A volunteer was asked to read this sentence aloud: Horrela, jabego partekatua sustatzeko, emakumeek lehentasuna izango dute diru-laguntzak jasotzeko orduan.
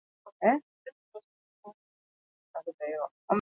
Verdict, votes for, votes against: rejected, 0, 4